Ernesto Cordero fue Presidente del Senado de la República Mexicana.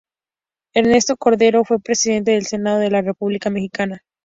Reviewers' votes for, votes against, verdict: 2, 0, accepted